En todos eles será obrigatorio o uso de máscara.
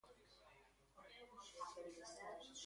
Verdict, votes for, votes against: rejected, 0, 2